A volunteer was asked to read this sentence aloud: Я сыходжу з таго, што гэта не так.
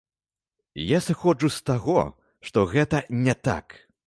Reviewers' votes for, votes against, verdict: 2, 0, accepted